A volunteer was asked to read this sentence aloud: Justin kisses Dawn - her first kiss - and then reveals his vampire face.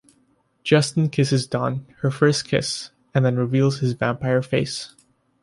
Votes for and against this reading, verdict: 2, 1, accepted